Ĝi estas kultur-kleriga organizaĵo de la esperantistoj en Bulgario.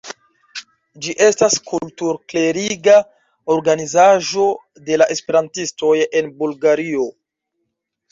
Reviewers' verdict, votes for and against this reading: rejected, 0, 2